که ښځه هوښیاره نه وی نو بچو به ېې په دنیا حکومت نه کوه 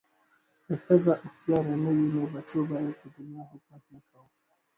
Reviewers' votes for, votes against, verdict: 0, 2, rejected